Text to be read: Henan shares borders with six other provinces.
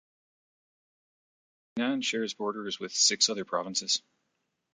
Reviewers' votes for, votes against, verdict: 2, 0, accepted